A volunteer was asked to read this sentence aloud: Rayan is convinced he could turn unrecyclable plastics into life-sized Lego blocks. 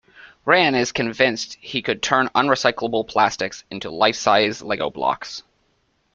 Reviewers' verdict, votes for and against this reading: accepted, 2, 0